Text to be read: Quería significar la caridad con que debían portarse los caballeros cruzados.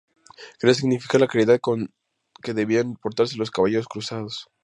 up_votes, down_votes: 2, 0